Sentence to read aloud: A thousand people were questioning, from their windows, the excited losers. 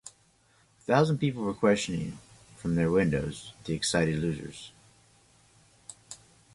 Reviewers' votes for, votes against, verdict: 2, 0, accepted